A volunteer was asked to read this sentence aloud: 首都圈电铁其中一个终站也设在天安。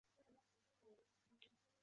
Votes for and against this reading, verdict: 2, 5, rejected